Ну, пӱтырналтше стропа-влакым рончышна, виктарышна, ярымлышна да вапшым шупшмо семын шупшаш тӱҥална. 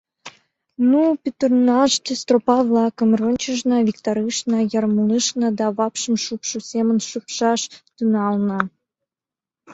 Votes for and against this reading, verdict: 1, 2, rejected